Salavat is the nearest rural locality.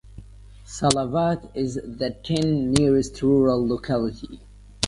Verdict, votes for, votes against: rejected, 0, 2